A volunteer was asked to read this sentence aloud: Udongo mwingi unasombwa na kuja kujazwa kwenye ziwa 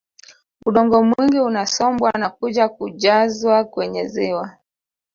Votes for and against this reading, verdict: 3, 0, accepted